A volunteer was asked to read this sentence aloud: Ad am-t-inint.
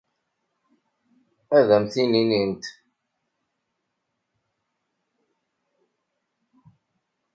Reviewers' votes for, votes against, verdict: 1, 2, rejected